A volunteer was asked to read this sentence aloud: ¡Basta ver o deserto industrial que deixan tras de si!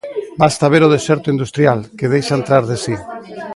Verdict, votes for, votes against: accepted, 2, 0